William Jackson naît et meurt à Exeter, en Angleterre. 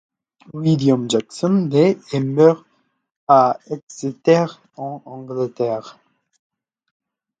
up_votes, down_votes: 1, 2